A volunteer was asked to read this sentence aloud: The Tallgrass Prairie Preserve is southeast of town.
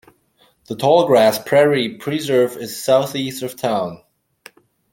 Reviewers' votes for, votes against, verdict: 2, 0, accepted